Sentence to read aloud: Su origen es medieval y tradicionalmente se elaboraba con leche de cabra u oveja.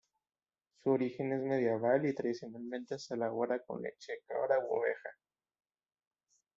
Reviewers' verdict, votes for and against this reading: rejected, 0, 2